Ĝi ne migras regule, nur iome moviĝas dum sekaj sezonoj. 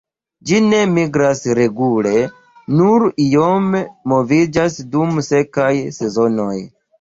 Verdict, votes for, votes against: rejected, 1, 2